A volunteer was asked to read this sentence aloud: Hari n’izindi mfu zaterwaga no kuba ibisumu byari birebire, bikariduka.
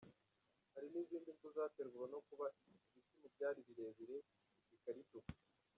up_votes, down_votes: 0, 2